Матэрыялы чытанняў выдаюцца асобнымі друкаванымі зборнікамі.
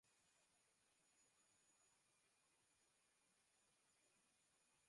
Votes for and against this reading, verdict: 0, 2, rejected